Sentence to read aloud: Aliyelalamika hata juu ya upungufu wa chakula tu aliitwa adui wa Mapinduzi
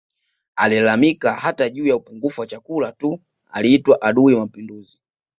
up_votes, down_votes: 2, 1